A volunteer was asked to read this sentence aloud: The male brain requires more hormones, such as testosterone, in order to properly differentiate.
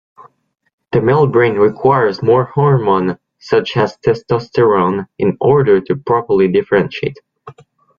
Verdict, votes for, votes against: rejected, 0, 2